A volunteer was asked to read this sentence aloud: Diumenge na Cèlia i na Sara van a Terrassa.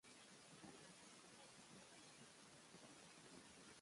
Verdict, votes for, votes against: rejected, 0, 2